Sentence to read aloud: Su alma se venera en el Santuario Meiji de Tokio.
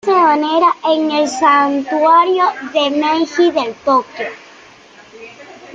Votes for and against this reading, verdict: 0, 2, rejected